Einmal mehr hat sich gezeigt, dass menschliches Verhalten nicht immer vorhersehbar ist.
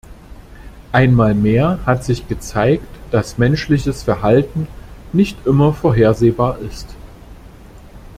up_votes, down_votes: 3, 0